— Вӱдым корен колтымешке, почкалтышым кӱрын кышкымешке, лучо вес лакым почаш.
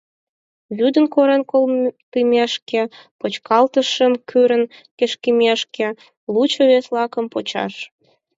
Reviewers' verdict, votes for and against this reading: rejected, 2, 4